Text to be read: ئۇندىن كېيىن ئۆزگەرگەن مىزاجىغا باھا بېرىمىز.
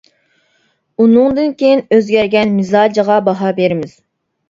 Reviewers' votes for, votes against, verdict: 1, 2, rejected